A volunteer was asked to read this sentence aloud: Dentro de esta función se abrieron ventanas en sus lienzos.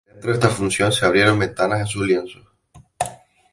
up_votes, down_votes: 0, 2